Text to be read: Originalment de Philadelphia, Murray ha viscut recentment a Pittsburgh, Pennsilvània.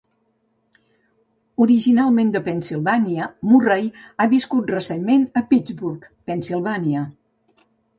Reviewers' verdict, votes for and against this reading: rejected, 0, 2